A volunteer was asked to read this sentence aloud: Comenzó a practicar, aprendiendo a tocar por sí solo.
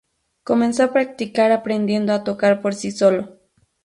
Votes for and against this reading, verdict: 2, 0, accepted